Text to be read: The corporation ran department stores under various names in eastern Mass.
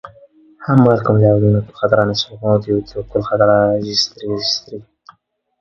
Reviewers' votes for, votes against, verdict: 0, 2, rejected